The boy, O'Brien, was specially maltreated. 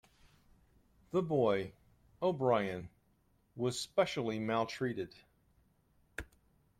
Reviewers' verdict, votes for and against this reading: accepted, 2, 0